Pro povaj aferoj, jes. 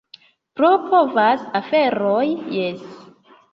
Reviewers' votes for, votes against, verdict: 3, 0, accepted